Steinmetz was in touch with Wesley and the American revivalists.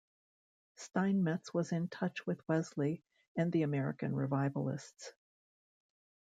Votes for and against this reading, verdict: 2, 0, accepted